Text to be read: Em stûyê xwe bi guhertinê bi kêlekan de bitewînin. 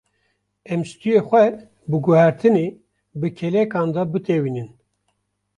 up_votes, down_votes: 1, 2